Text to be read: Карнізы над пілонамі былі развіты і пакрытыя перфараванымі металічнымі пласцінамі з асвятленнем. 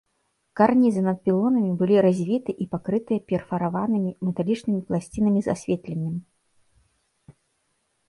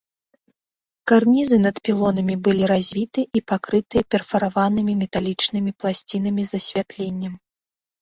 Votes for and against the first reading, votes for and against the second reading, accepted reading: 0, 2, 3, 0, second